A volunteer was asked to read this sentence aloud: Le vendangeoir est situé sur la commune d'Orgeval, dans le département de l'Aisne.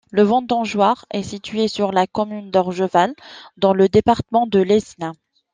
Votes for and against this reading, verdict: 1, 2, rejected